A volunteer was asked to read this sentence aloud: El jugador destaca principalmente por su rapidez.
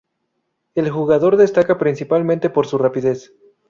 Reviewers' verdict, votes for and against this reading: accepted, 2, 0